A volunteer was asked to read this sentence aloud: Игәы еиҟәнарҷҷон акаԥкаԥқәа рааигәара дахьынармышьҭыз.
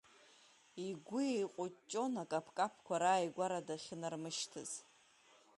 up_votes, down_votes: 1, 2